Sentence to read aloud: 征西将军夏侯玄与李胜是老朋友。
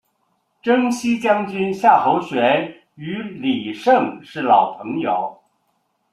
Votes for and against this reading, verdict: 3, 0, accepted